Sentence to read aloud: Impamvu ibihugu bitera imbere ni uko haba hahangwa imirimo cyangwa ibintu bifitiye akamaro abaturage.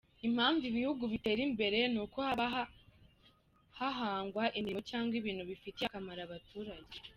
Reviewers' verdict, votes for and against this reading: rejected, 1, 2